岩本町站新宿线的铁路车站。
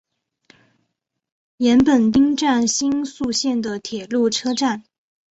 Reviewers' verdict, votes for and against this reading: accepted, 2, 1